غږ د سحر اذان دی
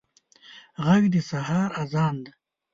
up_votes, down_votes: 1, 2